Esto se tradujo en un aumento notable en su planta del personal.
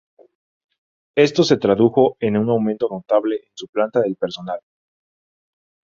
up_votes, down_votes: 0, 2